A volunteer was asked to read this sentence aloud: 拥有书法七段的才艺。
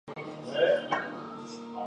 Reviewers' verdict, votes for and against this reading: rejected, 0, 2